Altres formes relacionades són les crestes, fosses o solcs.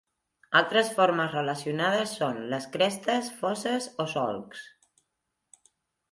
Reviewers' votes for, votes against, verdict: 3, 0, accepted